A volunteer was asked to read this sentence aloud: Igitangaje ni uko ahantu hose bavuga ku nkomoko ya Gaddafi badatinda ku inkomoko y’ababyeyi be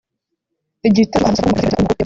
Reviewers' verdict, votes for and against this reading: rejected, 0, 2